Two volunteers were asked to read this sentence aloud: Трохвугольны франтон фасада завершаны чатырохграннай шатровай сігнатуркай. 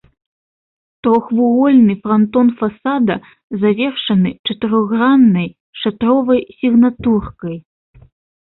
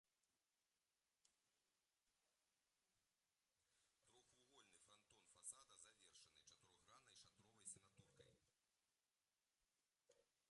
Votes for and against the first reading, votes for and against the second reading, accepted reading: 2, 0, 0, 2, first